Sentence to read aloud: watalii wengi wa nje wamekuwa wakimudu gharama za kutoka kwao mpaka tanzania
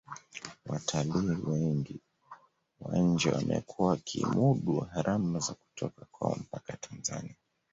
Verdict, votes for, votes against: rejected, 0, 2